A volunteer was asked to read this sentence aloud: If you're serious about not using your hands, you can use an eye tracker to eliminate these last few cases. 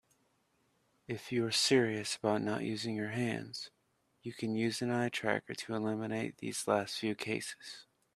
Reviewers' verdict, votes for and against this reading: accepted, 2, 0